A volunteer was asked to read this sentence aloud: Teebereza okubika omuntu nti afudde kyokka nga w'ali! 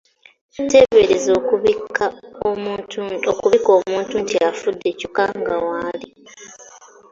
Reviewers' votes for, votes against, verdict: 0, 2, rejected